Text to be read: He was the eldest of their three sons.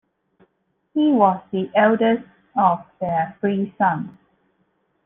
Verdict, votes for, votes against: accepted, 2, 0